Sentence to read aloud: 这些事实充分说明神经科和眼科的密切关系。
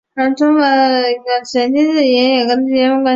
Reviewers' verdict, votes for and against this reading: rejected, 0, 2